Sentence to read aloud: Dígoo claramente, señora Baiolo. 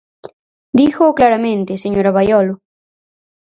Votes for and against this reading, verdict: 4, 0, accepted